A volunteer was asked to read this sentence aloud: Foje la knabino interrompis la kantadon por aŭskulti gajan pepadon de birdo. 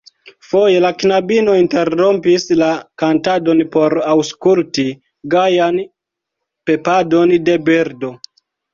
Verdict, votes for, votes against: rejected, 1, 2